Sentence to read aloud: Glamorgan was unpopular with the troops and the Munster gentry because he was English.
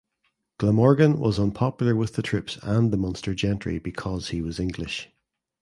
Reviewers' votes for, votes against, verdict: 2, 0, accepted